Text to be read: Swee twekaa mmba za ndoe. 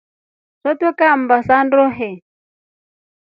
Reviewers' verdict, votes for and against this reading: accepted, 2, 0